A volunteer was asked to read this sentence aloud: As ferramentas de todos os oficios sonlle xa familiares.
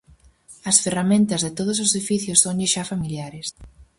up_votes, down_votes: 4, 0